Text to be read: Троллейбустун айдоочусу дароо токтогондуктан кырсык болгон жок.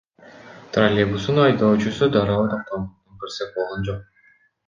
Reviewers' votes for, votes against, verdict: 0, 2, rejected